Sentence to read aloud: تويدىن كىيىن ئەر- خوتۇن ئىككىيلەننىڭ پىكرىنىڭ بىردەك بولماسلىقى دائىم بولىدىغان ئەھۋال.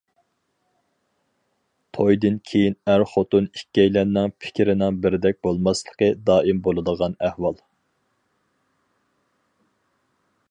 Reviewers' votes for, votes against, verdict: 4, 0, accepted